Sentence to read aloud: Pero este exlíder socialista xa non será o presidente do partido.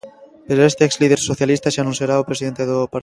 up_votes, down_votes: 0, 2